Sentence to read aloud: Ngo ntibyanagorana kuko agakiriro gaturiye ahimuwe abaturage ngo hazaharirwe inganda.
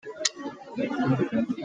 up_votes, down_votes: 0, 2